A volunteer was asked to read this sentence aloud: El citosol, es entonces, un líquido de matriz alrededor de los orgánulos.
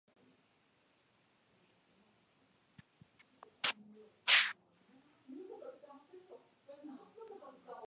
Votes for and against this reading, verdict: 0, 2, rejected